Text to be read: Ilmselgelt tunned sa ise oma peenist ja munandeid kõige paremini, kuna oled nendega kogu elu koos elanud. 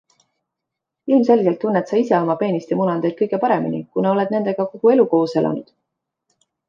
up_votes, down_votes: 2, 0